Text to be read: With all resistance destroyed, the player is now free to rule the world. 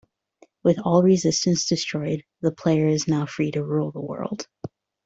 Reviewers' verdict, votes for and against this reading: accepted, 2, 0